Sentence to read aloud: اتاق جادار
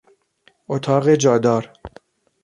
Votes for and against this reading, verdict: 2, 0, accepted